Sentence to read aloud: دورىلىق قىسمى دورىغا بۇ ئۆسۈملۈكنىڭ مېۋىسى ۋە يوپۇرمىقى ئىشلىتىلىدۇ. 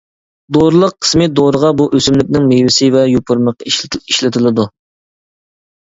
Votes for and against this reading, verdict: 0, 2, rejected